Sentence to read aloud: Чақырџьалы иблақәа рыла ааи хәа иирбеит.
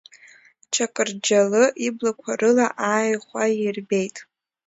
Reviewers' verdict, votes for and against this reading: accepted, 2, 0